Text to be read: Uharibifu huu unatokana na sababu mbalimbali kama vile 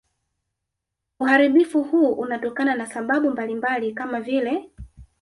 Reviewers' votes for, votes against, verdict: 1, 2, rejected